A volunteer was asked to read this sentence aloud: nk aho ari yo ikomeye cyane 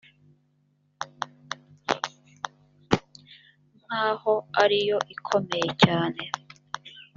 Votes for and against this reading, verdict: 2, 0, accepted